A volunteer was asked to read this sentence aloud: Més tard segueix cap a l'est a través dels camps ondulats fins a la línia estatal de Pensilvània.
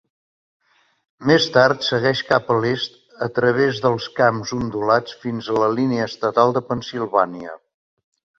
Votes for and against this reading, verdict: 3, 0, accepted